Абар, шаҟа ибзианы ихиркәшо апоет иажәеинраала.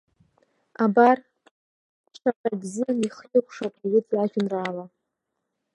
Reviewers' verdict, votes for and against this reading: rejected, 0, 2